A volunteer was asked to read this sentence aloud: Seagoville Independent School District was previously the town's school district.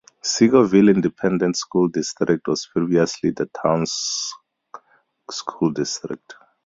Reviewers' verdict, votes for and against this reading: rejected, 0, 2